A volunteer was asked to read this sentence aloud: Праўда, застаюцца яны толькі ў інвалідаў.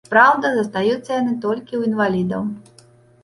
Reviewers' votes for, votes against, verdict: 1, 2, rejected